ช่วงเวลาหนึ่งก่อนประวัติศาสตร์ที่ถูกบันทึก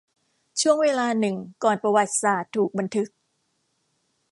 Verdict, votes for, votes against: rejected, 1, 2